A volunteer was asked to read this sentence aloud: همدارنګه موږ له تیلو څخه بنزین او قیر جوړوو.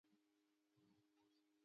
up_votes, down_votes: 2, 0